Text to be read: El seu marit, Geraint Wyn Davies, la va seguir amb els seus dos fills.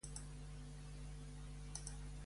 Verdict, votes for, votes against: rejected, 0, 2